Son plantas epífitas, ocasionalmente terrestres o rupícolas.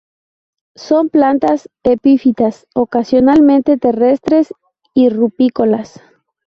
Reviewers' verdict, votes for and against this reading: rejected, 0, 2